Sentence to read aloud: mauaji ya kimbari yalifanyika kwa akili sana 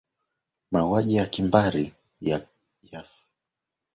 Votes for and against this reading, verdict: 0, 2, rejected